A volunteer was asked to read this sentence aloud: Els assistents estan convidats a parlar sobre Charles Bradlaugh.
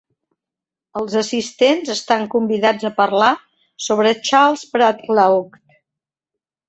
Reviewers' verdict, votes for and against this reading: accepted, 2, 0